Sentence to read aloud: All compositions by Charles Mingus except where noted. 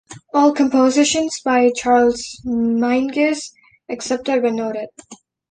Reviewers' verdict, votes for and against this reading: rejected, 1, 2